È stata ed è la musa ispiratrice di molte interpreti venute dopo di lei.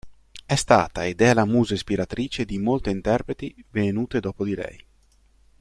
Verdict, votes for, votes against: accepted, 2, 0